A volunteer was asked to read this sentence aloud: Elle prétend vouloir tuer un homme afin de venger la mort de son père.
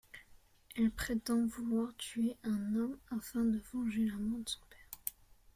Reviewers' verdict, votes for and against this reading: accepted, 2, 0